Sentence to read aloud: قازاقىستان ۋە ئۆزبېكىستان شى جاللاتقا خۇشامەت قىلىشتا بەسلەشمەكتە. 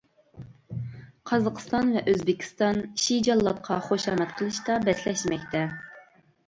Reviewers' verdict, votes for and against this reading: accepted, 2, 0